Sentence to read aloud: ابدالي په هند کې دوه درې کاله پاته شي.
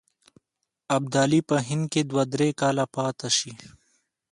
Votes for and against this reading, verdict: 2, 0, accepted